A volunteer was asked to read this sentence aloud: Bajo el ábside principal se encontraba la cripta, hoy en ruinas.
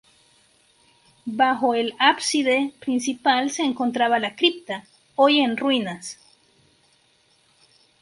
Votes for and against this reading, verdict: 0, 2, rejected